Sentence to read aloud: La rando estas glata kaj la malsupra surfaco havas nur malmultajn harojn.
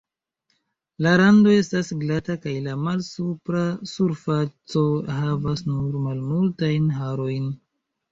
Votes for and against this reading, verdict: 0, 2, rejected